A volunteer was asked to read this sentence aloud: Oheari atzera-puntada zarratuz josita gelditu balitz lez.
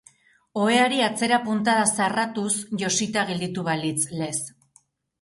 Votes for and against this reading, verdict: 2, 0, accepted